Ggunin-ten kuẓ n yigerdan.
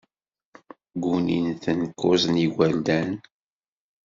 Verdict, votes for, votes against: rejected, 1, 2